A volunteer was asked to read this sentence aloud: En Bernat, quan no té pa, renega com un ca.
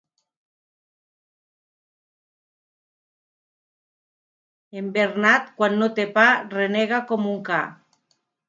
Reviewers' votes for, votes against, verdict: 0, 2, rejected